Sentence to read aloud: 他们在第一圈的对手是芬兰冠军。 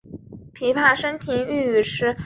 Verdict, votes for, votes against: rejected, 1, 4